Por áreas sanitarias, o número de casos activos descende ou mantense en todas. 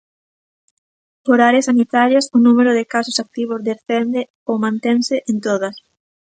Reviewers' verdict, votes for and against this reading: accepted, 2, 0